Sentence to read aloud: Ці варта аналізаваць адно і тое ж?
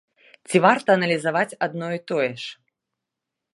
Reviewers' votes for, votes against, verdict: 2, 0, accepted